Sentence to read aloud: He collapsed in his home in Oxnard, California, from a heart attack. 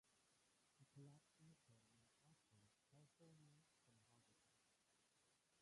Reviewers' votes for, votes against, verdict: 0, 2, rejected